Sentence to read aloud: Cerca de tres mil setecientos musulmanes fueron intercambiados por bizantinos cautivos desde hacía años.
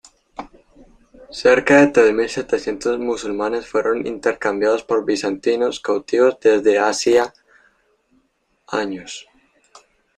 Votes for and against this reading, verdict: 0, 2, rejected